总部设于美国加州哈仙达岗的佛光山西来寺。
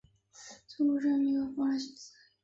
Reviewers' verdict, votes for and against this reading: rejected, 0, 2